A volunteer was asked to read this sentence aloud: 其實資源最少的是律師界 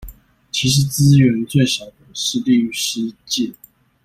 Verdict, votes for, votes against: accepted, 2, 0